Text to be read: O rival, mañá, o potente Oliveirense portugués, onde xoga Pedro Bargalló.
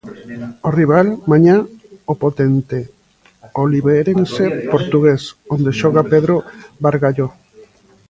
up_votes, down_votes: 0, 2